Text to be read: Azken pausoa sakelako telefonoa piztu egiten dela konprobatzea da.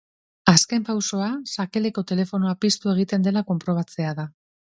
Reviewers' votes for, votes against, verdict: 1, 3, rejected